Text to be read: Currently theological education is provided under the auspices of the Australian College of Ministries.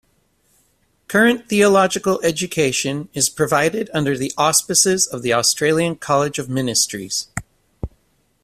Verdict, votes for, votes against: rejected, 1, 2